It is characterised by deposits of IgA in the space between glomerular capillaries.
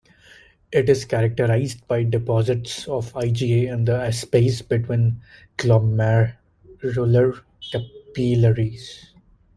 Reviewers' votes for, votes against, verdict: 1, 2, rejected